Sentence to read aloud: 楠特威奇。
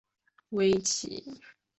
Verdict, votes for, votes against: rejected, 0, 2